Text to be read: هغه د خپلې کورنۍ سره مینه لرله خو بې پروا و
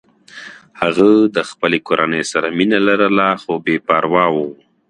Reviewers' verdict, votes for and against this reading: accepted, 2, 0